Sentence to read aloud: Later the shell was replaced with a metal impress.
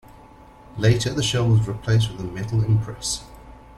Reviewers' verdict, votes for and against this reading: accepted, 2, 0